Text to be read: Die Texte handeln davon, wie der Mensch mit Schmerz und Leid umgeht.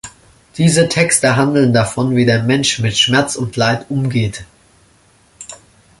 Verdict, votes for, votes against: rejected, 0, 2